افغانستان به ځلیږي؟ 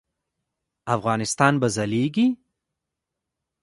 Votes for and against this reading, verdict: 0, 2, rejected